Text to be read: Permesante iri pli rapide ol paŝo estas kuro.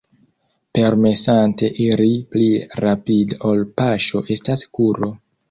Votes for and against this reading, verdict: 0, 2, rejected